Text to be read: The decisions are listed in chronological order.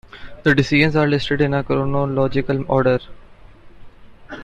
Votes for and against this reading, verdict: 1, 2, rejected